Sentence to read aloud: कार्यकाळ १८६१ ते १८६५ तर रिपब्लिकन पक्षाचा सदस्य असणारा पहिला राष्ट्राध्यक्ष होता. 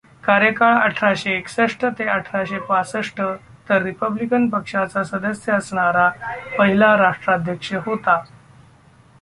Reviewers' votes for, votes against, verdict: 0, 2, rejected